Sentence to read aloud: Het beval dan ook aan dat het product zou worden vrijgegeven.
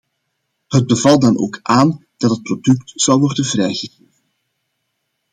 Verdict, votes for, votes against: rejected, 0, 2